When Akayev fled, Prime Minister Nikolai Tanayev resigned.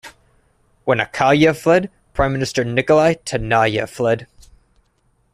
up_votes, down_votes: 0, 2